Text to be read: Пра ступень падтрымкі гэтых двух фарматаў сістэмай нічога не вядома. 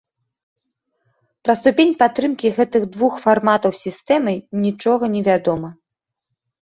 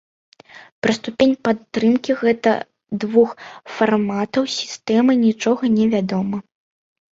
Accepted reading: first